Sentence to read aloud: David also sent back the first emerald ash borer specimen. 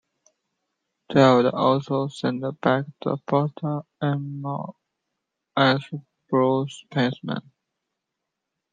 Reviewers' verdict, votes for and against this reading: rejected, 0, 2